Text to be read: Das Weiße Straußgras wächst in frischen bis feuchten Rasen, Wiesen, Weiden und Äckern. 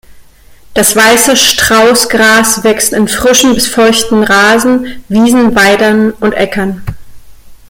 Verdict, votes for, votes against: rejected, 0, 2